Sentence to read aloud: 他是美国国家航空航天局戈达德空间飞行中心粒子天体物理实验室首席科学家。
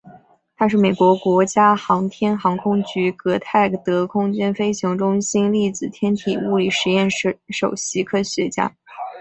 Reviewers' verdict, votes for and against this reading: accepted, 2, 0